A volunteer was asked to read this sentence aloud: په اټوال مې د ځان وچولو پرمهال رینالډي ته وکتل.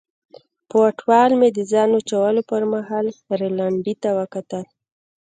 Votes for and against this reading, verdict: 0, 2, rejected